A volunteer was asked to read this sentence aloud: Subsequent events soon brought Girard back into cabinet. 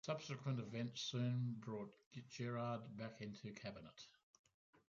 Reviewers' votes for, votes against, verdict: 1, 2, rejected